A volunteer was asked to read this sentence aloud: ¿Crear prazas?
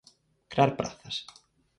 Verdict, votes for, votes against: rejected, 2, 2